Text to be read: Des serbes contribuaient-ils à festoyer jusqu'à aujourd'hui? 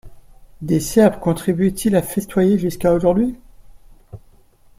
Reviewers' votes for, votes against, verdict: 1, 2, rejected